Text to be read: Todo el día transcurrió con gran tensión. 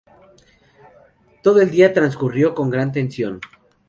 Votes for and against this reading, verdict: 0, 2, rejected